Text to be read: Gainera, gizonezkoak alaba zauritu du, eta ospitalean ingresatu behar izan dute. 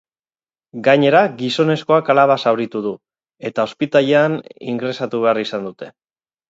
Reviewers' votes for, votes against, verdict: 2, 6, rejected